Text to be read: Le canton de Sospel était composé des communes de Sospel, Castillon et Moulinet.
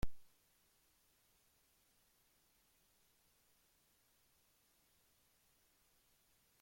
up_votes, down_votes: 0, 2